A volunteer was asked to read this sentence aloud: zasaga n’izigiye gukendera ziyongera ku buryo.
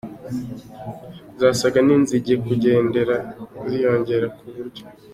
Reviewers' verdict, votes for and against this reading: rejected, 0, 2